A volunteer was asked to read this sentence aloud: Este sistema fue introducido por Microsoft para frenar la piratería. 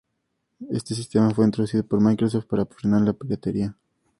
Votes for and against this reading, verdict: 2, 0, accepted